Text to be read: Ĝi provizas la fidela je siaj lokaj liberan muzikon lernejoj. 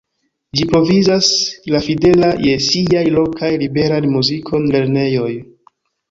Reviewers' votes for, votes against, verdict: 1, 2, rejected